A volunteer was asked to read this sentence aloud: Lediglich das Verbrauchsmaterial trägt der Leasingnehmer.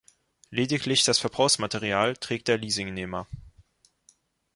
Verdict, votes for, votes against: accepted, 4, 0